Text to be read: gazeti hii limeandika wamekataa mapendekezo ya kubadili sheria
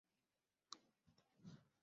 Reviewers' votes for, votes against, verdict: 0, 10, rejected